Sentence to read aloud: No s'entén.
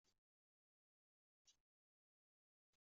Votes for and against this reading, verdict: 0, 2, rejected